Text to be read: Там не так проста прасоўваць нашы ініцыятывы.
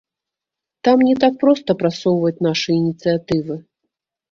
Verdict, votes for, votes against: rejected, 0, 2